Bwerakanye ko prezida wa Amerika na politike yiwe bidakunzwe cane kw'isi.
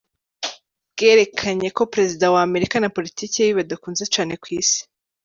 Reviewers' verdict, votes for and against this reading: accepted, 2, 0